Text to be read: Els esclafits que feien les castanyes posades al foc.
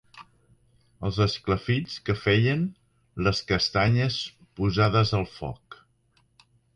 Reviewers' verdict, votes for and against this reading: accepted, 3, 0